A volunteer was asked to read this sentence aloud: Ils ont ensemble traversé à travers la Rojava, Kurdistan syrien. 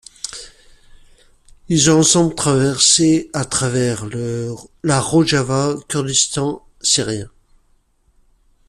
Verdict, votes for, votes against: accepted, 2, 1